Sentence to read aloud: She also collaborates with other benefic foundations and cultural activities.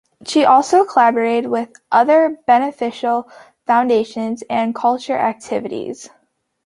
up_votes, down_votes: 2, 0